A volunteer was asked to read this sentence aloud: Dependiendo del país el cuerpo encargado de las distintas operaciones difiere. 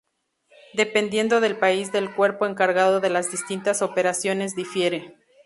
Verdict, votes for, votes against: rejected, 0, 2